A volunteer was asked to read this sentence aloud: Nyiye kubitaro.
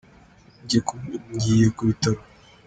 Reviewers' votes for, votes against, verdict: 1, 2, rejected